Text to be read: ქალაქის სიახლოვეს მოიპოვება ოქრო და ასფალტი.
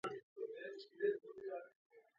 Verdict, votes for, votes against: rejected, 0, 2